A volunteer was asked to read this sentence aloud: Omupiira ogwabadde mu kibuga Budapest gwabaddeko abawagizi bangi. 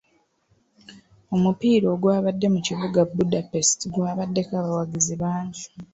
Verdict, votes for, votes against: accepted, 2, 1